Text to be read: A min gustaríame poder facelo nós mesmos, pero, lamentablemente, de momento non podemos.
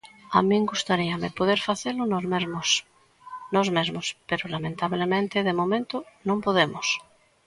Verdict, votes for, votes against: rejected, 0, 2